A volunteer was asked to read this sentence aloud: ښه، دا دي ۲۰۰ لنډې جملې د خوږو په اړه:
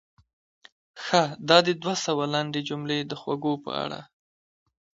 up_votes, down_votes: 0, 2